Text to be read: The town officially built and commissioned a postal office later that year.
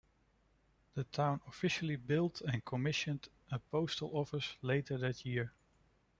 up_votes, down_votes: 1, 2